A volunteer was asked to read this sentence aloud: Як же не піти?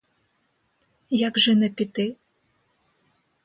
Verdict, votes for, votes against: rejected, 0, 2